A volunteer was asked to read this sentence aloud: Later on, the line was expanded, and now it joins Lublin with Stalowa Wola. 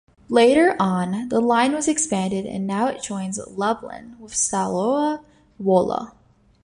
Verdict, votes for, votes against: rejected, 1, 2